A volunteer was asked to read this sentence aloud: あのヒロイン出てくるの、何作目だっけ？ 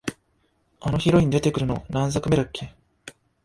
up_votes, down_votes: 2, 1